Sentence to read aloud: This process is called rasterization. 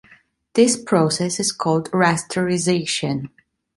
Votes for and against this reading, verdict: 2, 0, accepted